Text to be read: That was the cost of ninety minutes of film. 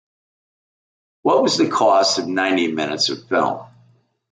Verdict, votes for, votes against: rejected, 1, 2